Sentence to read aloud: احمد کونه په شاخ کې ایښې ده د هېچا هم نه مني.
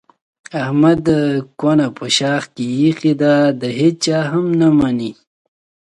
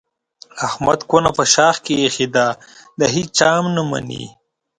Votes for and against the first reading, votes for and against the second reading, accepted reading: 0, 2, 2, 0, second